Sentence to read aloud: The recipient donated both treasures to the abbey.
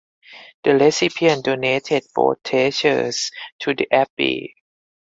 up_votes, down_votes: 4, 2